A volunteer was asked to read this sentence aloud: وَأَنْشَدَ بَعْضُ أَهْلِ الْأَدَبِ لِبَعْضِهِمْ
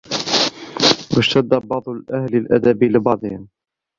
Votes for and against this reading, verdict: 0, 2, rejected